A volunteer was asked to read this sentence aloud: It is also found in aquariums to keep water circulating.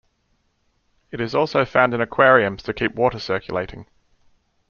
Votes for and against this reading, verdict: 2, 0, accepted